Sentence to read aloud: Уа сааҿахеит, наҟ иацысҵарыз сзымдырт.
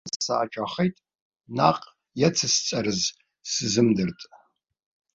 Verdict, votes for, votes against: rejected, 1, 2